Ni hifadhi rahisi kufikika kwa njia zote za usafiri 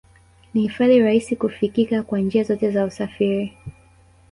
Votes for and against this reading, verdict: 2, 0, accepted